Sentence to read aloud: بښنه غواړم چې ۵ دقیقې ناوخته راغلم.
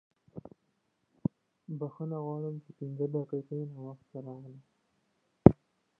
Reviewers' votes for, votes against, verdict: 0, 2, rejected